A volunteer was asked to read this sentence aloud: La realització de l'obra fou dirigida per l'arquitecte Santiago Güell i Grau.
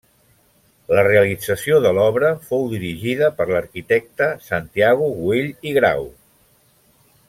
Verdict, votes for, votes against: accepted, 2, 0